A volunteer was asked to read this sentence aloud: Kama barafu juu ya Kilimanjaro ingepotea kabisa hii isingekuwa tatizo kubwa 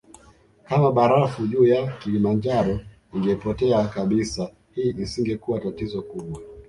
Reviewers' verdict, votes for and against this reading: accepted, 2, 0